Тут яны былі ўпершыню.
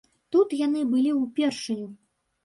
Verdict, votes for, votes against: rejected, 1, 3